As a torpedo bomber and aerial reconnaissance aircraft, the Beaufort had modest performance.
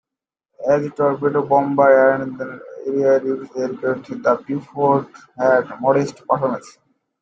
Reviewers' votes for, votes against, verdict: 0, 2, rejected